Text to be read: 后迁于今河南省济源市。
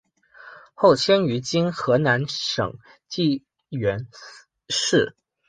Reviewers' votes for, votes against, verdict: 0, 2, rejected